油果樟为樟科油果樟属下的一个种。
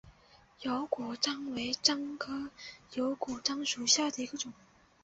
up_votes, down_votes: 2, 0